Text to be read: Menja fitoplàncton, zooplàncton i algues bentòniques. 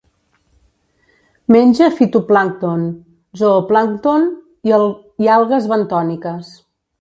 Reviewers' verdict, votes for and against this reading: rejected, 1, 2